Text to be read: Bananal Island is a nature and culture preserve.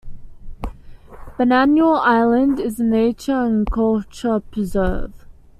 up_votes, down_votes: 2, 0